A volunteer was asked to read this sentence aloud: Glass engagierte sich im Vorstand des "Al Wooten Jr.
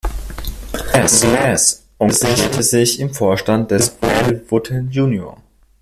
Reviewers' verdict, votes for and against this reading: rejected, 0, 2